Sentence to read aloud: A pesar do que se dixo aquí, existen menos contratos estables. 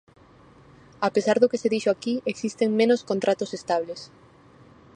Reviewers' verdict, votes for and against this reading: rejected, 2, 2